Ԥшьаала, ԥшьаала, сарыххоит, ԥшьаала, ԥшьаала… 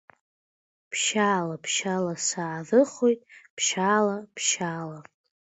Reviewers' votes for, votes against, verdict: 3, 2, accepted